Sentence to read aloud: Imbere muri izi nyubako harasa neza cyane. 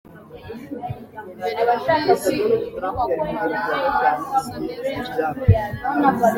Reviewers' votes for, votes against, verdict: 0, 2, rejected